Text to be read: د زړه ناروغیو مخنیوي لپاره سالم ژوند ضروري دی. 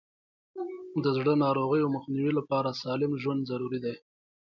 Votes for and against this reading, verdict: 2, 0, accepted